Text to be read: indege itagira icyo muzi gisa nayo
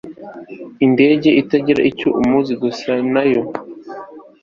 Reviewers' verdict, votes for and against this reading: accepted, 2, 0